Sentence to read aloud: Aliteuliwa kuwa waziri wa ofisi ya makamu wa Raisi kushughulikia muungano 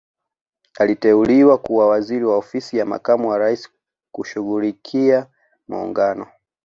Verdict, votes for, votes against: accepted, 2, 0